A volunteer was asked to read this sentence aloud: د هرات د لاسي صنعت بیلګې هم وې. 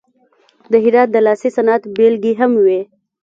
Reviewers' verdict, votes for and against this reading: accepted, 2, 1